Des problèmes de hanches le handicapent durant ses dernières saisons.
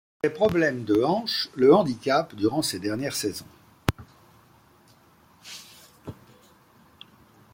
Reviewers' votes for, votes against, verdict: 1, 2, rejected